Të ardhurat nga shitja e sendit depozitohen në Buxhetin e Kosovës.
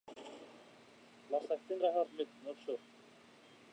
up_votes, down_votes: 0, 2